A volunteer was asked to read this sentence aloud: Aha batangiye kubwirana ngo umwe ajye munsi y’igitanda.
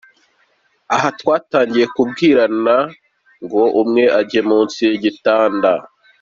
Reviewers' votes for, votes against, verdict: 2, 1, accepted